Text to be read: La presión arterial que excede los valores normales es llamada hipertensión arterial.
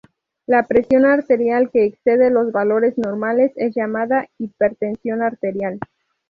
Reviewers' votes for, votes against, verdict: 2, 2, rejected